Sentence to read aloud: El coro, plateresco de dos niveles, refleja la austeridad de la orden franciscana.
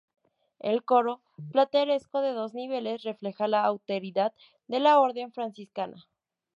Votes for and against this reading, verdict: 2, 0, accepted